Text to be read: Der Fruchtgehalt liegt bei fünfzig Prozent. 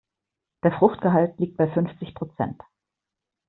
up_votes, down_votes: 1, 2